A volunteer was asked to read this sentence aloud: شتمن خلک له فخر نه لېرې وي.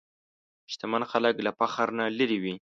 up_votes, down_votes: 2, 0